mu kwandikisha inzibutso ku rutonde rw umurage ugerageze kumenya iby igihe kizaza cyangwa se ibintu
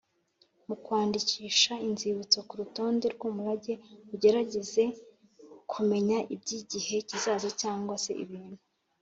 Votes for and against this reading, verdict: 2, 0, accepted